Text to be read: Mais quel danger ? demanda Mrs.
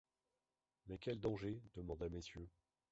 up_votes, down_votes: 0, 3